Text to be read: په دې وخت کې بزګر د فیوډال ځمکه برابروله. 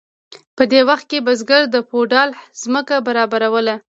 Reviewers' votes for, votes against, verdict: 2, 0, accepted